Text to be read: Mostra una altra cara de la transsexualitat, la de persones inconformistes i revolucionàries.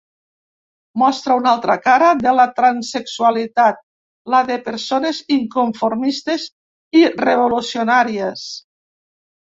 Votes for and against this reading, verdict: 1, 2, rejected